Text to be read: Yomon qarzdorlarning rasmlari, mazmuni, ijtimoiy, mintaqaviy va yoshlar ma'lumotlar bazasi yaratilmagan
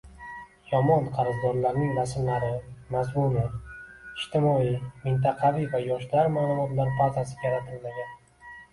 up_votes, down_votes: 2, 0